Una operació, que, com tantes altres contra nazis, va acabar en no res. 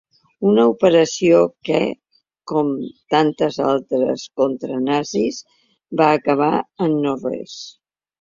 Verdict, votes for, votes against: accepted, 2, 0